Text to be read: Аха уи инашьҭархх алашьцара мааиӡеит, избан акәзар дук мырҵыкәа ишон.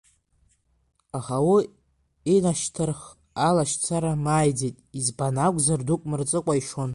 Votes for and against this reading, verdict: 2, 1, accepted